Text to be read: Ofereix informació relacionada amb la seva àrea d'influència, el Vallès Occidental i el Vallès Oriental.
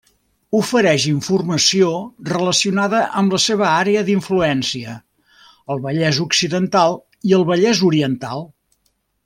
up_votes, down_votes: 3, 0